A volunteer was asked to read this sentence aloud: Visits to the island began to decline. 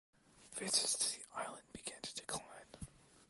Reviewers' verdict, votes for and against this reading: rejected, 0, 2